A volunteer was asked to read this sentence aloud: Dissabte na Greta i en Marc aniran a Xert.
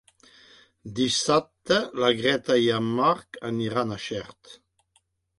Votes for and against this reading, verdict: 0, 2, rejected